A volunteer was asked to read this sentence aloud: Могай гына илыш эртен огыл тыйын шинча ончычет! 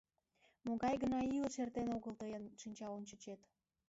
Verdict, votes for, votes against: rejected, 2, 3